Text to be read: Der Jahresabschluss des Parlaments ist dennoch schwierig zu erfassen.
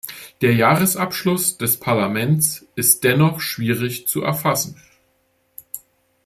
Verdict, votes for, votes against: rejected, 1, 2